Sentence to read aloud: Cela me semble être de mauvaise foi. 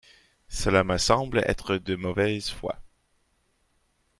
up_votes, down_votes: 2, 0